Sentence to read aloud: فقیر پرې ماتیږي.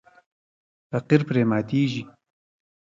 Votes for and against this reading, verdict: 2, 0, accepted